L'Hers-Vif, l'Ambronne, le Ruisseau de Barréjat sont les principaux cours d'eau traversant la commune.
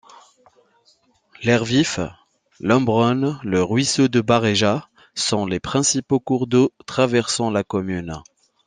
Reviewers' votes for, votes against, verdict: 2, 0, accepted